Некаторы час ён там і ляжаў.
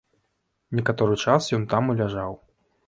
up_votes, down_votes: 2, 0